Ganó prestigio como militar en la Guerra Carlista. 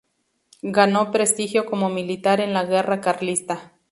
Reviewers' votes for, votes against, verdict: 2, 0, accepted